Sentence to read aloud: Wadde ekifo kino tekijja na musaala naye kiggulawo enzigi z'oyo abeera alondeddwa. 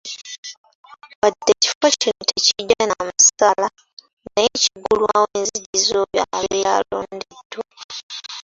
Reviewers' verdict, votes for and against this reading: accepted, 2, 1